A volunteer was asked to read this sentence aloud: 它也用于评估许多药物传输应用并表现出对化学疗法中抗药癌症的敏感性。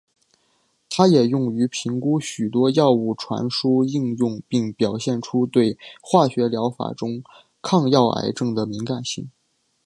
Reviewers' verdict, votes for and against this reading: accepted, 5, 0